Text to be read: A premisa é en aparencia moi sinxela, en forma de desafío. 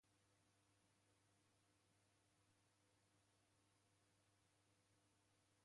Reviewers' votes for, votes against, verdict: 0, 2, rejected